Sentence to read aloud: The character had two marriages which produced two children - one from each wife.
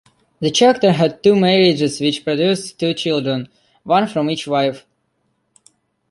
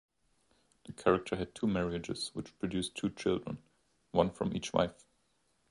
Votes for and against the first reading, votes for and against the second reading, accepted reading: 1, 2, 2, 0, second